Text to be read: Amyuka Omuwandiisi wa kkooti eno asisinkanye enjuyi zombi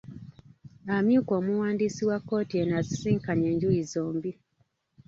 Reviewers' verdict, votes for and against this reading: rejected, 1, 2